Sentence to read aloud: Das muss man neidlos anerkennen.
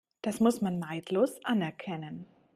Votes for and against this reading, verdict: 2, 0, accepted